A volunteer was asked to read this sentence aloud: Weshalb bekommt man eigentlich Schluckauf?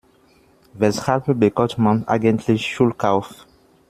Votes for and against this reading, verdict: 0, 2, rejected